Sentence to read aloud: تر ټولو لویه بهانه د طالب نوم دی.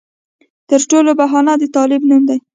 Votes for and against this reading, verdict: 1, 2, rejected